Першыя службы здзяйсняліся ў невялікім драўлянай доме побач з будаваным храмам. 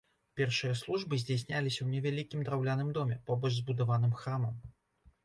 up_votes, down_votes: 1, 2